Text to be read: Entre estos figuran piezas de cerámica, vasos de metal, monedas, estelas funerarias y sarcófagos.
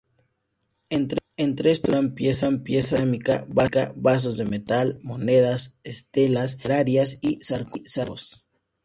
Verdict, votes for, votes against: rejected, 0, 2